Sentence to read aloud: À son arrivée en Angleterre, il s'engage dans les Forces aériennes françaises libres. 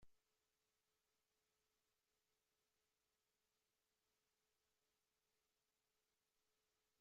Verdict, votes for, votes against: rejected, 0, 2